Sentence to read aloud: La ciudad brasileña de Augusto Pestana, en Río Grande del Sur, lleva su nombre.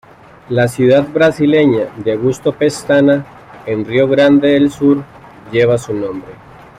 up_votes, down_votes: 2, 0